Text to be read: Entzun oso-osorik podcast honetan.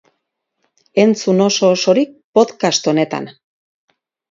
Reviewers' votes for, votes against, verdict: 4, 2, accepted